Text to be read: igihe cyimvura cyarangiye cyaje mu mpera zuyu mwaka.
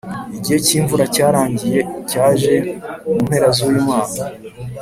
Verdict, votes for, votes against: accepted, 4, 0